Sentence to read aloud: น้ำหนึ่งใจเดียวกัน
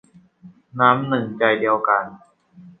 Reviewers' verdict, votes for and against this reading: accepted, 2, 0